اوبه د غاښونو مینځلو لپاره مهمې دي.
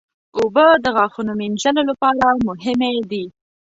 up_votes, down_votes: 2, 0